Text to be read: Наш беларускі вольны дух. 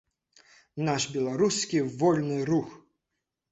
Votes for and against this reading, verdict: 1, 2, rejected